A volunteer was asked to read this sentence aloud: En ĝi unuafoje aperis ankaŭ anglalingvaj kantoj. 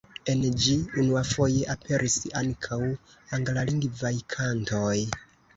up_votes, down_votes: 2, 1